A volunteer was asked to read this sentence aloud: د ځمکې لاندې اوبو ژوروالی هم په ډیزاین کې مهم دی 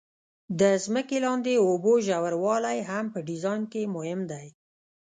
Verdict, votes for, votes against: rejected, 0, 2